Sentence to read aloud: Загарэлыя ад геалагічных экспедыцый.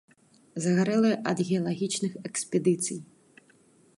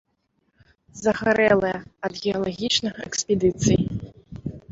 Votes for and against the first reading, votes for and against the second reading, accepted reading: 2, 0, 1, 2, first